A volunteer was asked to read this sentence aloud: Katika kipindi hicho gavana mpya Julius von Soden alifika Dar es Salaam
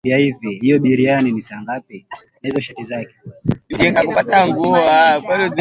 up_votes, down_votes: 0, 2